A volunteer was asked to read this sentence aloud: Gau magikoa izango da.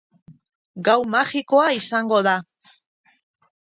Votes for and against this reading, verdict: 14, 2, accepted